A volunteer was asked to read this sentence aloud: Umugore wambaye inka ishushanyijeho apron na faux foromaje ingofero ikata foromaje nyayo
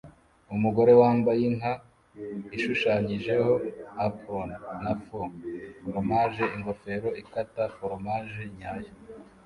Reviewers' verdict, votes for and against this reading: accepted, 2, 0